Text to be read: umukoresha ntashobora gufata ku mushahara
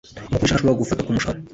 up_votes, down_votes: 1, 2